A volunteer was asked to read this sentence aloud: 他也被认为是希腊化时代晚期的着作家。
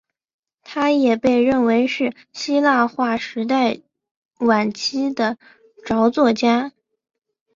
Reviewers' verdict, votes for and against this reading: accepted, 2, 1